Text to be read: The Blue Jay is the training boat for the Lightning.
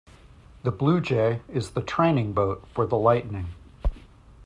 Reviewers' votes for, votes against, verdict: 2, 1, accepted